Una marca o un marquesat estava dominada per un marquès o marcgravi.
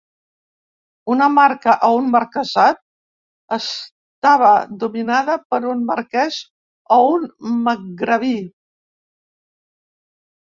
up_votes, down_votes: 0, 2